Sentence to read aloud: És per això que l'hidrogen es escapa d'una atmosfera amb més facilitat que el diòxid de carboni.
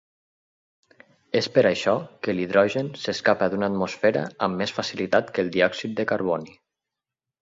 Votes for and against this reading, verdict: 4, 2, accepted